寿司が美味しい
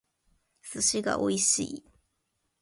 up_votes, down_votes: 2, 0